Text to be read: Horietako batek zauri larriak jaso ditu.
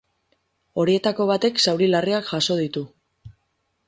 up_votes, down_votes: 2, 2